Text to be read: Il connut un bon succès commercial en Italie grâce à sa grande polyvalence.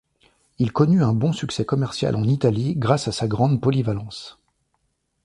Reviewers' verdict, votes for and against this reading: accepted, 2, 0